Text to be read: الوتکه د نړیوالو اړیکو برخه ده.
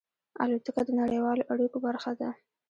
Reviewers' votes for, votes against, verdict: 1, 2, rejected